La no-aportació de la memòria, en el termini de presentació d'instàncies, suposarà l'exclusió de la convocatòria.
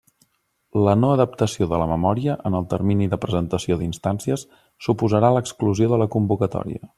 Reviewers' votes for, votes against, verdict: 0, 2, rejected